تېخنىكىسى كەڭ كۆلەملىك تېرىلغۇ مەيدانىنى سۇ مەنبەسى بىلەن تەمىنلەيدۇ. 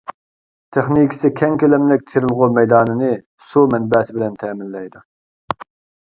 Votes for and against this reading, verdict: 2, 0, accepted